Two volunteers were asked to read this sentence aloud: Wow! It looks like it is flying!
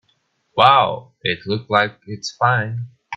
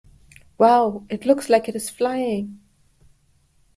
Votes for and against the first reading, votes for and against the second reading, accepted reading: 0, 2, 2, 0, second